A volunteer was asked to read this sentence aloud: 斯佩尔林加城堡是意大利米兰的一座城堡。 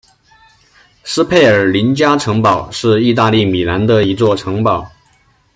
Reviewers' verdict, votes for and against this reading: accepted, 2, 0